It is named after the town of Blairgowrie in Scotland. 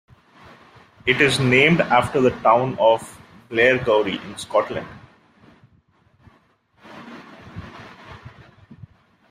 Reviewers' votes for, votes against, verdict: 2, 1, accepted